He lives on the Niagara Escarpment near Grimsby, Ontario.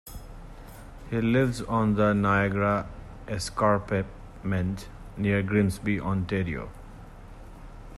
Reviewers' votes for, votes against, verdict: 1, 2, rejected